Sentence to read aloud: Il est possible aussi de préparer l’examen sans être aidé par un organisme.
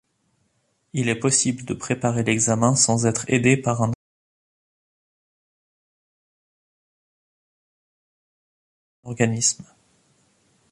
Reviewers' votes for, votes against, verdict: 0, 2, rejected